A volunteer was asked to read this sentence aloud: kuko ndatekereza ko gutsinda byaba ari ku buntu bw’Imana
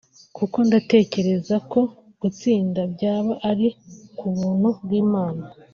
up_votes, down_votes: 2, 1